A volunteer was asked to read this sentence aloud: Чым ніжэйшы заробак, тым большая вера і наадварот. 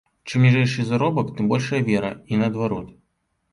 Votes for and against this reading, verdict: 2, 0, accepted